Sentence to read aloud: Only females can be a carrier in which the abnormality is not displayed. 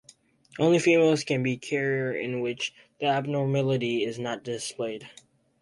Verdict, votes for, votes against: rejected, 0, 4